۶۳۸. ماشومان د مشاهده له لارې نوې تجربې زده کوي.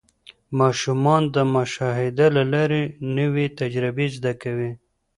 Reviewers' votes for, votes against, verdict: 0, 2, rejected